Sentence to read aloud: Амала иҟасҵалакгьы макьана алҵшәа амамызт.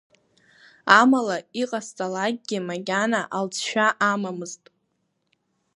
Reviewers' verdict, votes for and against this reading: accepted, 2, 0